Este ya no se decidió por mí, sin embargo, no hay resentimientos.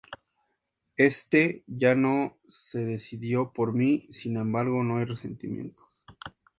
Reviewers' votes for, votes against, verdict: 2, 0, accepted